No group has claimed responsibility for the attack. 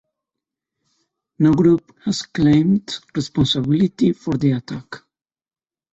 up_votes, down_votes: 2, 0